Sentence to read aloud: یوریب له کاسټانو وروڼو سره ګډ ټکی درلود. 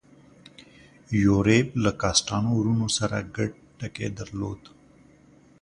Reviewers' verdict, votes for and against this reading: accepted, 2, 0